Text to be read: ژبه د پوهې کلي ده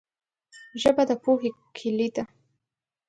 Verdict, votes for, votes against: accepted, 2, 0